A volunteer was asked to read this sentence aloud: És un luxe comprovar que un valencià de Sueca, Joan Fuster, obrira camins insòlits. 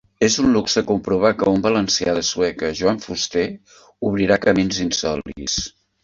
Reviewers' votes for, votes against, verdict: 0, 2, rejected